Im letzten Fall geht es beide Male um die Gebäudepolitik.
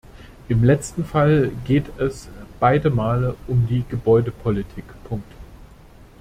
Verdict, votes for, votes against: rejected, 0, 2